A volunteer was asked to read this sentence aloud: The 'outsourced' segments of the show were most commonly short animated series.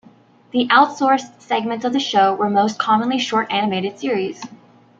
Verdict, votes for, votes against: accepted, 2, 1